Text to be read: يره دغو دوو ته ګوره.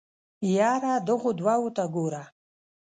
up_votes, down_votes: 1, 2